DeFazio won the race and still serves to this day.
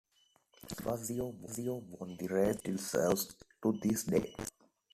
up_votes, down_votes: 1, 2